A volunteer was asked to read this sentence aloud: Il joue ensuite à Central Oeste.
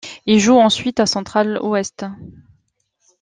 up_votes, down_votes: 2, 1